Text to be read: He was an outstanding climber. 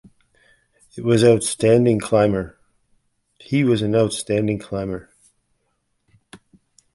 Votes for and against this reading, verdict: 0, 2, rejected